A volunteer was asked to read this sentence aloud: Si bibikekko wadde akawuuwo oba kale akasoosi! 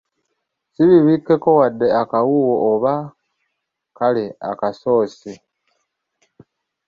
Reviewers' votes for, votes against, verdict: 2, 0, accepted